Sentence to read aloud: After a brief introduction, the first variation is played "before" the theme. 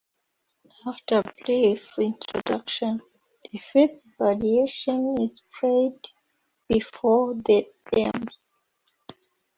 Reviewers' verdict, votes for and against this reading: accepted, 2, 1